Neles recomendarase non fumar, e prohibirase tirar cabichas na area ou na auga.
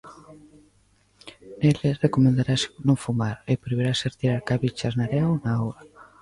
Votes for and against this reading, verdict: 3, 1, accepted